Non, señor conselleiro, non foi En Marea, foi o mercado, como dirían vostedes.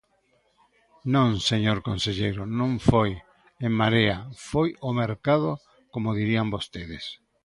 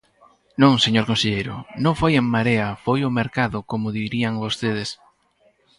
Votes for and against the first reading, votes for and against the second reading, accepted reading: 3, 0, 2, 2, first